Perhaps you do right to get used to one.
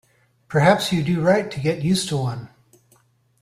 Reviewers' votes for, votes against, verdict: 2, 0, accepted